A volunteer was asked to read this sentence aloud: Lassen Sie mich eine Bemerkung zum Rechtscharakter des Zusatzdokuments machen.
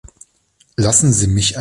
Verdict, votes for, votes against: rejected, 0, 2